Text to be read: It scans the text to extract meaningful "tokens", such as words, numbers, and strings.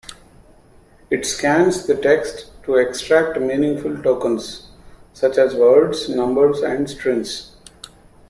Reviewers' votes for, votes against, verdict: 2, 0, accepted